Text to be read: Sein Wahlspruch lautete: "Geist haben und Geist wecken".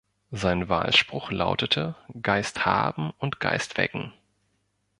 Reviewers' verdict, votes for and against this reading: accepted, 2, 0